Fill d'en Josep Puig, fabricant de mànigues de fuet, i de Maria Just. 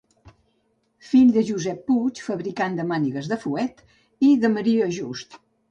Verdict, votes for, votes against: rejected, 0, 2